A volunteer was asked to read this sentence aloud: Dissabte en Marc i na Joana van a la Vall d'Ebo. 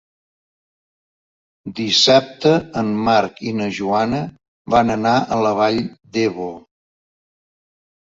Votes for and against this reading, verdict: 0, 2, rejected